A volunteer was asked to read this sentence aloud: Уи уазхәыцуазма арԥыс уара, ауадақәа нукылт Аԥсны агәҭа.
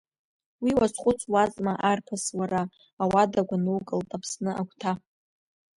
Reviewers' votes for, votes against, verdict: 1, 2, rejected